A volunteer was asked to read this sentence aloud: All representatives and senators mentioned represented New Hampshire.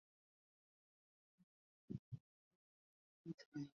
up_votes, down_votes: 0, 2